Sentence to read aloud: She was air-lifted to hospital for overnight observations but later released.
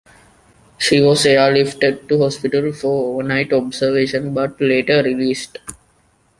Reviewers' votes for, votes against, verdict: 0, 2, rejected